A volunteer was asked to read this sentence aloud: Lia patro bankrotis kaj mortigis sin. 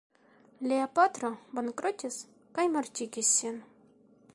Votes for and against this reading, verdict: 2, 0, accepted